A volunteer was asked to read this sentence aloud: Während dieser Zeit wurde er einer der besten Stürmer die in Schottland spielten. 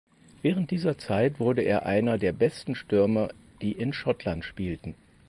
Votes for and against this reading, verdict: 4, 0, accepted